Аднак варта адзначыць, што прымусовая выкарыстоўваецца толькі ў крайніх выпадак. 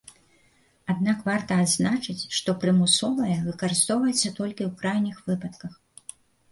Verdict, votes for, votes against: rejected, 1, 2